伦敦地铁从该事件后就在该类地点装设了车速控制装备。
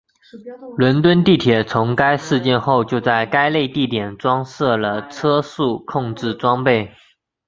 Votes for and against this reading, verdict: 2, 1, accepted